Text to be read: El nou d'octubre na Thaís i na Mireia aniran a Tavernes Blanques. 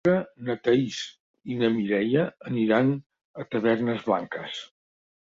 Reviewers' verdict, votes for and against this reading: rejected, 1, 2